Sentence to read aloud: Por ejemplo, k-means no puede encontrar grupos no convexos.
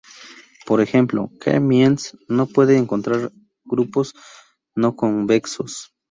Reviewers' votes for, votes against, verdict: 0, 2, rejected